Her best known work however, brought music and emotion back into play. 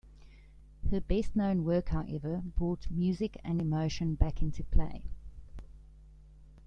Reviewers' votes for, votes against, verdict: 2, 0, accepted